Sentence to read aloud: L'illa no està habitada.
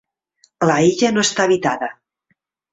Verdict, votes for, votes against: rejected, 0, 2